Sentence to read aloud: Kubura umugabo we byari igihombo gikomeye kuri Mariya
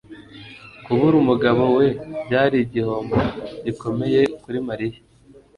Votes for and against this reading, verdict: 3, 0, accepted